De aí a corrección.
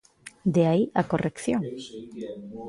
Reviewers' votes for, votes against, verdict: 1, 2, rejected